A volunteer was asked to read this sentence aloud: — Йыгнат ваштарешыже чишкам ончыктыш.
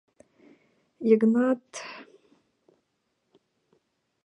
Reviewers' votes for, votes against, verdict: 1, 2, rejected